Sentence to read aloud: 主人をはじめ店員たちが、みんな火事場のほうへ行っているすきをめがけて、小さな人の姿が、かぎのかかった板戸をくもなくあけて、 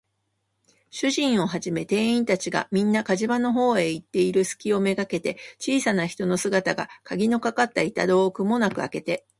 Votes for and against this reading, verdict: 3, 1, accepted